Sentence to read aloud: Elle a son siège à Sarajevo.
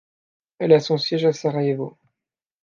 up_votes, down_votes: 2, 0